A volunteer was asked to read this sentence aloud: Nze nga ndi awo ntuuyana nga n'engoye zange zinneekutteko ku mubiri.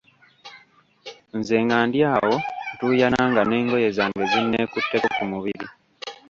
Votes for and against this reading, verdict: 1, 2, rejected